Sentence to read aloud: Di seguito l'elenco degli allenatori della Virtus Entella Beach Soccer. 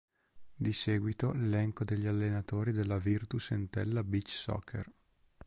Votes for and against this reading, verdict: 3, 0, accepted